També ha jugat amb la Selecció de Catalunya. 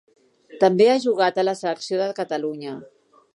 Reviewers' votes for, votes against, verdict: 0, 2, rejected